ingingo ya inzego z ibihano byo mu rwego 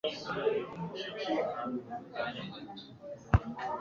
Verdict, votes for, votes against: rejected, 2, 3